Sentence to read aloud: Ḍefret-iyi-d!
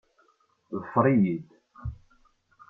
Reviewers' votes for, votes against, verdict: 0, 2, rejected